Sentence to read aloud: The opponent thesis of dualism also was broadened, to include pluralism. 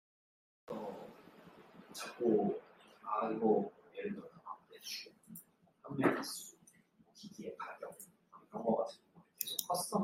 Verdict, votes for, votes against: rejected, 0, 2